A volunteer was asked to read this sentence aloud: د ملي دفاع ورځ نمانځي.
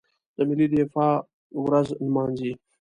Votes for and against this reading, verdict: 2, 0, accepted